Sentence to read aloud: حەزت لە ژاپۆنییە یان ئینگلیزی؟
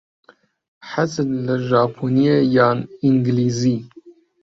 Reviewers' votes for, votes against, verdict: 0, 2, rejected